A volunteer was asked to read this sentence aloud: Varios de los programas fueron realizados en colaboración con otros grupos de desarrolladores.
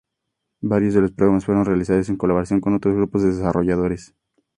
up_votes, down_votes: 2, 0